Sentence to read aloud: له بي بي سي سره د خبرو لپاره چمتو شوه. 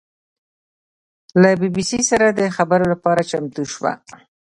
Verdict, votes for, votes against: accepted, 2, 0